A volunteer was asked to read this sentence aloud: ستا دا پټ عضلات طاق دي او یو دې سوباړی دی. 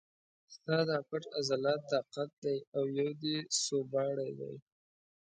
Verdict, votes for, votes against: accepted, 2, 0